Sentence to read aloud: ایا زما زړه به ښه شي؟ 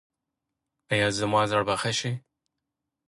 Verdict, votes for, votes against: accepted, 2, 0